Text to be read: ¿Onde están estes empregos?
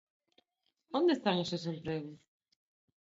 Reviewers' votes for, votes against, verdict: 4, 9, rejected